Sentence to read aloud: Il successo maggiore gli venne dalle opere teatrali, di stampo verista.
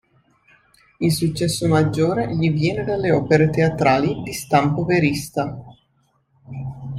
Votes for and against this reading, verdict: 1, 2, rejected